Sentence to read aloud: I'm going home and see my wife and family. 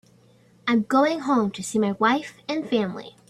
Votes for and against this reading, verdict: 1, 2, rejected